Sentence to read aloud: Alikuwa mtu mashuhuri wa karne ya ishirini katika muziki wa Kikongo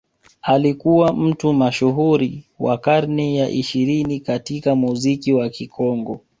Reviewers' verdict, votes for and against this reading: accepted, 2, 0